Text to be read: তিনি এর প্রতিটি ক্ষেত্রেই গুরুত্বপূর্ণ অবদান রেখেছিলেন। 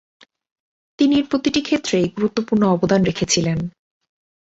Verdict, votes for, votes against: accepted, 2, 0